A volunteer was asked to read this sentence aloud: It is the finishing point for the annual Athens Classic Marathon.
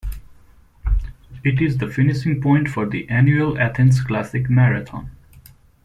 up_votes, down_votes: 0, 2